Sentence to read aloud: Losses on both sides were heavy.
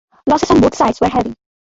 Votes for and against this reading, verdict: 0, 2, rejected